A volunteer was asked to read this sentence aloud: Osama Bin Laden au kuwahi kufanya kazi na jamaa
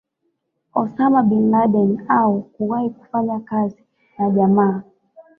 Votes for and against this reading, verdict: 0, 2, rejected